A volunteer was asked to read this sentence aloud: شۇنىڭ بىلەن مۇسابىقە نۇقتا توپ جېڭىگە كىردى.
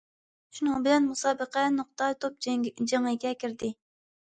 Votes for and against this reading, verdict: 0, 2, rejected